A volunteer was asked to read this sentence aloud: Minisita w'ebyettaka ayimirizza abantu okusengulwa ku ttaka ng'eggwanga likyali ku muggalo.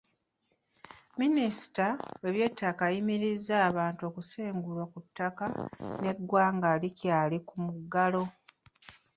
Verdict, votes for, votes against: rejected, 1, 2